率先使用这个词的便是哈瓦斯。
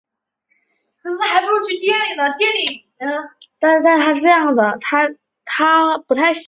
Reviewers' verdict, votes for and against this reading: rejected, 0, 3